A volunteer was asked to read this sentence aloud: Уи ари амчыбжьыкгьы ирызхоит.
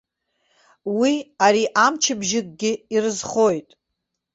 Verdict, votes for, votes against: accepted, 2, 1